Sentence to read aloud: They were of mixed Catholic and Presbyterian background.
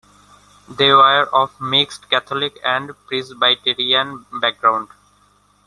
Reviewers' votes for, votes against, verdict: 2, 1, accepted